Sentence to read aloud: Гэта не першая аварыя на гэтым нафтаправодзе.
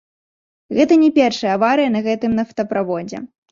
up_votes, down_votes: 2, 0